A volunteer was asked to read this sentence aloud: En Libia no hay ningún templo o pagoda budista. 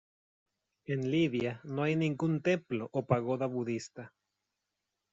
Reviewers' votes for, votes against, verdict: 2, 0, accepted